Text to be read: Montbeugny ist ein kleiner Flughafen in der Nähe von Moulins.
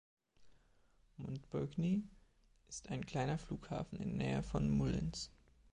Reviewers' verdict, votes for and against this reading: rejected, 1, 2